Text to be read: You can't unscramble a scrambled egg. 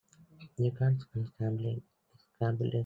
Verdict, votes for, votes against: rejected, 0, 2